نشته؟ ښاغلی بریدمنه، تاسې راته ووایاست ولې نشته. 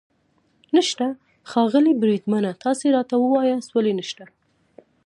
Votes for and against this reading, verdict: 2, 0, accepted